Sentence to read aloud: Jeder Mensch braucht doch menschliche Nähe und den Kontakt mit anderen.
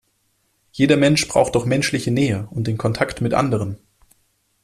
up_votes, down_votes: 2, 0